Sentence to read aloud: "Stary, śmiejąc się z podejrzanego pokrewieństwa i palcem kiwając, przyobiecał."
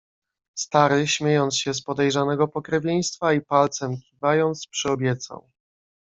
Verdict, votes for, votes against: rejected, 1, 2